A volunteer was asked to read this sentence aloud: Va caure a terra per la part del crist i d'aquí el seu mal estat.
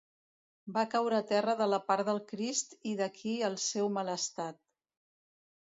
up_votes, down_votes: 1, 2